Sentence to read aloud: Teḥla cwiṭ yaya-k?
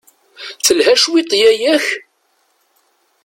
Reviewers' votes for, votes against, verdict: 0, 2, rejected